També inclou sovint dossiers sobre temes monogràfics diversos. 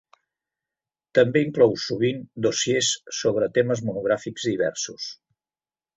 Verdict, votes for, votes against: accepted, 3, 0